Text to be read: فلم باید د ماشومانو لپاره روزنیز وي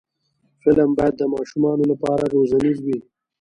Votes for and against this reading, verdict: 2, 0, accepted